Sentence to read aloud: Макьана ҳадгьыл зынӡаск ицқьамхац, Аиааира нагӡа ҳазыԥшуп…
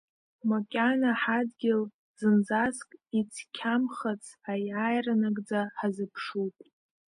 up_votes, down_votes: 2, 0